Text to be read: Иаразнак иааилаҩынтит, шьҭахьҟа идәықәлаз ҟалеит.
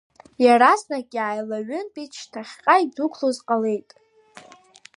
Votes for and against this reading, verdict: 1, 2, rejected